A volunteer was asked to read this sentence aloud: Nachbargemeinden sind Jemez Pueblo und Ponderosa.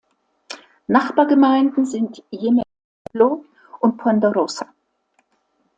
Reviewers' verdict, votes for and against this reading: rejected, 0, 2